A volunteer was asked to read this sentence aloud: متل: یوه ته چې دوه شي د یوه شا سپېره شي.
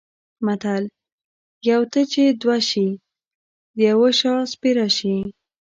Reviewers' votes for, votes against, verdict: 1, 2, rejected